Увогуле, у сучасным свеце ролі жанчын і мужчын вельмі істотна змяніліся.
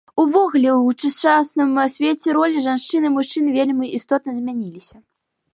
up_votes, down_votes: 1, 2